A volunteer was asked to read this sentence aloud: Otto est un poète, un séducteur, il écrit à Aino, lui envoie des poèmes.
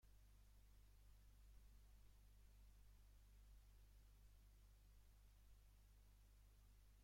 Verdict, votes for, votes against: rejected, 0, 2